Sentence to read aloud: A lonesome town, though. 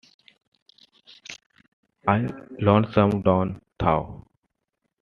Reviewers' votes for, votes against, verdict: 0, 2, rejected